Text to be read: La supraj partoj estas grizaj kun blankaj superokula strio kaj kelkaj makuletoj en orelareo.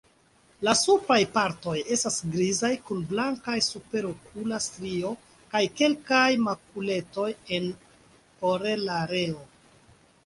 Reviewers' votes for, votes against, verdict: 2, 0, accepted